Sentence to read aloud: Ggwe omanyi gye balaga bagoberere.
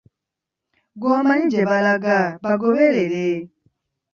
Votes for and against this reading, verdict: 2, 1, accepted